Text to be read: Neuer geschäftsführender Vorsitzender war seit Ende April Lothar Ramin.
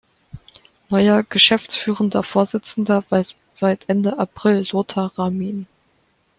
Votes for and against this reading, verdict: 0, 2, rejected